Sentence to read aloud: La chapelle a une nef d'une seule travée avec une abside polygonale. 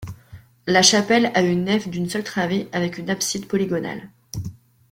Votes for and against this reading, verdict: 1, 2, rejected